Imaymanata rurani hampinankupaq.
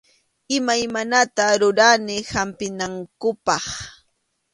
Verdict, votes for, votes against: accepted, 2, 0